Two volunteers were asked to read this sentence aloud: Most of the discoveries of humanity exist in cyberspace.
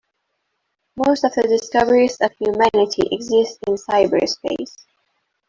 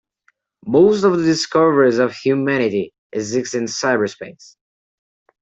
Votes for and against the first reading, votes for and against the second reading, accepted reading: 2, 0, 1, 2, first